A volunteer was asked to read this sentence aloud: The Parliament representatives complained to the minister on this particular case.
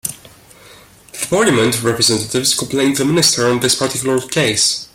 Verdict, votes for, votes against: accepted, 2, 0